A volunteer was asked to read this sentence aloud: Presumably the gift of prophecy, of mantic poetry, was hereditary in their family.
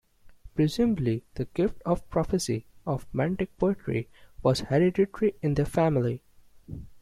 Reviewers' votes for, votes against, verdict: 2, 0, accepted